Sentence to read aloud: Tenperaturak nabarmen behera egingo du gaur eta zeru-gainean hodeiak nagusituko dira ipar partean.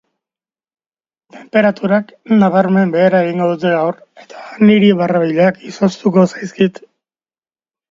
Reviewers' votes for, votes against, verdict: 0, 2, rejected